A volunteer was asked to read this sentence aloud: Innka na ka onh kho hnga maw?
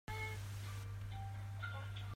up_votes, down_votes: 0, 2